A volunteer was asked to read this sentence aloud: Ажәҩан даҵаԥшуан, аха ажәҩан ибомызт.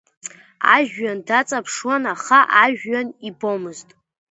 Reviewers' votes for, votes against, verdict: 2, 0, accepted